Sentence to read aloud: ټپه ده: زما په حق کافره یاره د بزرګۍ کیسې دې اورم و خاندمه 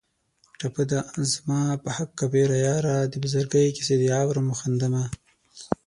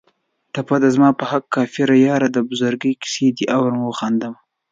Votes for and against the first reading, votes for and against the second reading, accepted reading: 0, 6, 2, 0, second